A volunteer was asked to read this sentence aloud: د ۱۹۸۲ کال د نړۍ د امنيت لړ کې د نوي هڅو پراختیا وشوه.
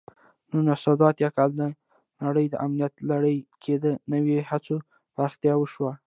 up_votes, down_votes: 0, 2